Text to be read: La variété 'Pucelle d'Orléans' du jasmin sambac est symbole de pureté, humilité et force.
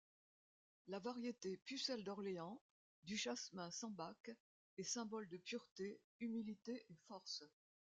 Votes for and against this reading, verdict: 2, 0, accepted